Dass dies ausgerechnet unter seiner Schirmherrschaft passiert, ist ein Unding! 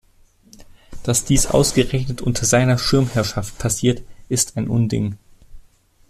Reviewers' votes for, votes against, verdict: 2, 0, accepted